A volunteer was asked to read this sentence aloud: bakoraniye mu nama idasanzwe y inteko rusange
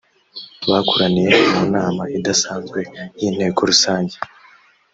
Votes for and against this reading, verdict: 2, 0, accepted